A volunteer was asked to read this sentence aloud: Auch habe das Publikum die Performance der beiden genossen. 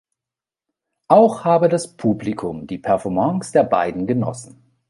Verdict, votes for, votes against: rejected, 0, 2